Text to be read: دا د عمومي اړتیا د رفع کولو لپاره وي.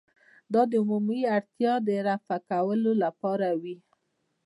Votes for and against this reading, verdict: 1, 2, rejected